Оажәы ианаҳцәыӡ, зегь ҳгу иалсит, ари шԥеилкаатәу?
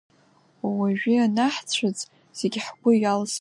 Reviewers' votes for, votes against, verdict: 0, 2, rejected